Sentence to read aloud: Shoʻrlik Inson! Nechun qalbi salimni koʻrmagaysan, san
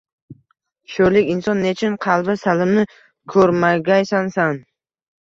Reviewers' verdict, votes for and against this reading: rejected, 1, 2